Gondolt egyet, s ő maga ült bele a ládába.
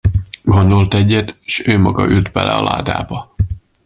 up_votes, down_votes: 2, 0